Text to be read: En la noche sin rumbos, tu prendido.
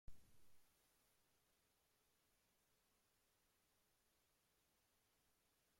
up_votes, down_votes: 0, 3